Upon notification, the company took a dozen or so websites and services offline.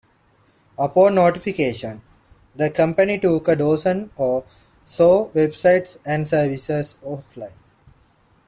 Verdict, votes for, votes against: accepted, 2, 0